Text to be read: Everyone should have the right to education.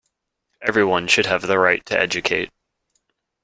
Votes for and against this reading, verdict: 0, 2, rejected